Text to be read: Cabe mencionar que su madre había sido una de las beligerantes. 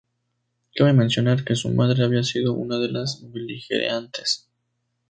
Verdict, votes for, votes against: rejected, 0, 2